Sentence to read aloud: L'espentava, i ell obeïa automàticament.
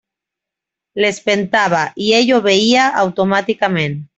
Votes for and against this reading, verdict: 2, 0, accepted